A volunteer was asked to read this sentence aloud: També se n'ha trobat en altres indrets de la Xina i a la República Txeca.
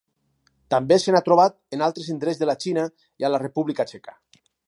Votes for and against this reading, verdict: 4, 0, accepted